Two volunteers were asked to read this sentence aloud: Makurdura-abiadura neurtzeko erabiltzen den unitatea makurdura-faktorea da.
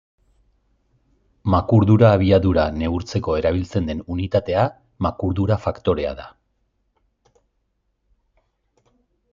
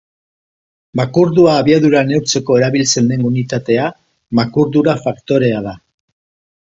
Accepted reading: second